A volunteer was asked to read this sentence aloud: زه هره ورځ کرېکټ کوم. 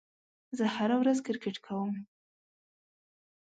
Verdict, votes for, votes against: accepted, 2, 0